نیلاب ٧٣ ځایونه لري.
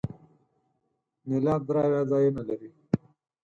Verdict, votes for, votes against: rejected, 0, 2